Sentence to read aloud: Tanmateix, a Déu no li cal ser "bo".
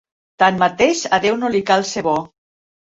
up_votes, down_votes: 3, 0